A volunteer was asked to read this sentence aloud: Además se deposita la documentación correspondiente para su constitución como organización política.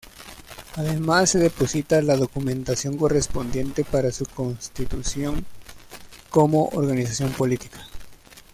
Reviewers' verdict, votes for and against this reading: accepted, 2, 0